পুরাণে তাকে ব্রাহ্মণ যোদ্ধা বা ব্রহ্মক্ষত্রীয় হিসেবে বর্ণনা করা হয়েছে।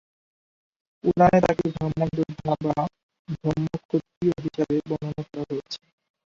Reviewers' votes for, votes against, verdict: 0, 2, rejected